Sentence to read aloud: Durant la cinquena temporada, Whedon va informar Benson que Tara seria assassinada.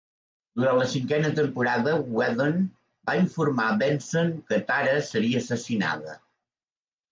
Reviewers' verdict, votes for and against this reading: rejected, 1, 2